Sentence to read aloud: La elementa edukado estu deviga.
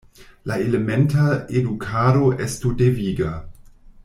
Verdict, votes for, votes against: accepted, 2, 1